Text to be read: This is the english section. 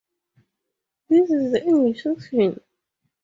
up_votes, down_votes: 0, 4